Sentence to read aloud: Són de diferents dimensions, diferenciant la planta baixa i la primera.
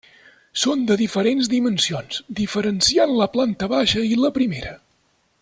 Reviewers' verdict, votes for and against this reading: accepted, 3, 0